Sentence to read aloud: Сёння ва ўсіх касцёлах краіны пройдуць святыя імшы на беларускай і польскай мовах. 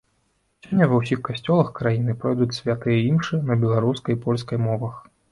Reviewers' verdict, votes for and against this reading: accepted, 3, 1